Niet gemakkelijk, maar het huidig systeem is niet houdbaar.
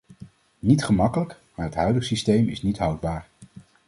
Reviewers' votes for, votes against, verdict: 2, 0, accepted